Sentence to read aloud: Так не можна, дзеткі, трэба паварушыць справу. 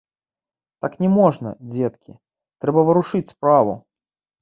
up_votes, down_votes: 1, 2